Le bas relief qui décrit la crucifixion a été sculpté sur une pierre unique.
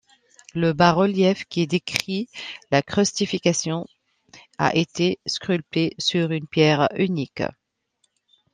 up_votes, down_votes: 1, 2